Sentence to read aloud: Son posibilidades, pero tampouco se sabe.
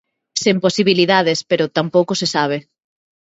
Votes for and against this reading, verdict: 0, 2, rejected